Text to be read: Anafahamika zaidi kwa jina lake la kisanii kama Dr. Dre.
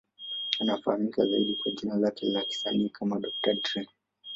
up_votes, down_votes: 1, 2